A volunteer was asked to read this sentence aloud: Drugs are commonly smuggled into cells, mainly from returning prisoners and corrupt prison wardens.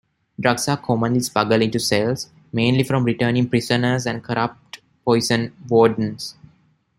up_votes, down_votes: 0, 2